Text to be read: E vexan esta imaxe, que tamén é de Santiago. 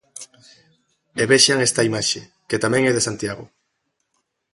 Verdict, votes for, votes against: accepted, 2, 0